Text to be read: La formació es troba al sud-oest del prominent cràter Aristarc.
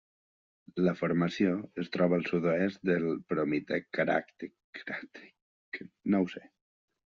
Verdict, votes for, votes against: rejected, 0, 2